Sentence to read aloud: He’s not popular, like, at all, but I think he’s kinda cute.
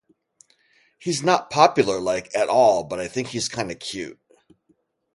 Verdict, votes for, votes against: rejected, 2, 2